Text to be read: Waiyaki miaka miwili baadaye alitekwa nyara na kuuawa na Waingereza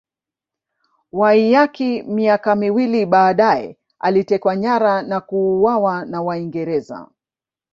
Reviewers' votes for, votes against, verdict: 2, 1, accepted